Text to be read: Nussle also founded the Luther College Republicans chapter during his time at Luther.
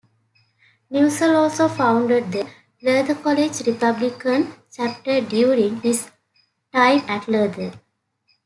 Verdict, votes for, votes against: rejected, 1, 2